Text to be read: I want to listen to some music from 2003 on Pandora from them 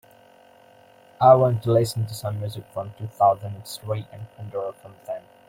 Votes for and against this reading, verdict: 0, 2, rejected